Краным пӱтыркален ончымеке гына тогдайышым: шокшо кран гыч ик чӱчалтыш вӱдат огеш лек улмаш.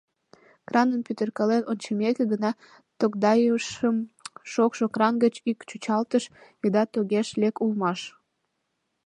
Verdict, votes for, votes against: accepted, 2, 0